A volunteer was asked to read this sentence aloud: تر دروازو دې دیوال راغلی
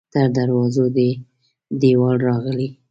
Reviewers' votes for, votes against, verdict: 2, 0, accepted